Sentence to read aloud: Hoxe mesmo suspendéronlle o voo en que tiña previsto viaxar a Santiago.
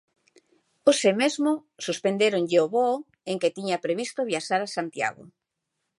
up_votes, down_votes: 2, 0